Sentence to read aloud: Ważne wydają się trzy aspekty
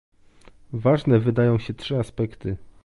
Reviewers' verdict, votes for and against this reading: accepted, 2, 0